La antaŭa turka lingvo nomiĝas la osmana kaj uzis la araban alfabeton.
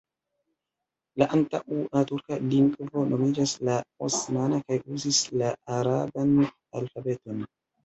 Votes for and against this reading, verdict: 2, 1, accepted